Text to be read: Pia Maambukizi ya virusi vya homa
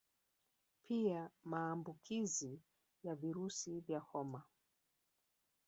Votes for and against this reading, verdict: 1, 2, rejected